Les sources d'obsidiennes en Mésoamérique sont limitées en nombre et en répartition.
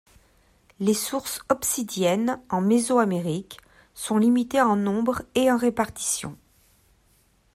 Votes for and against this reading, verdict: 0, 2, rejected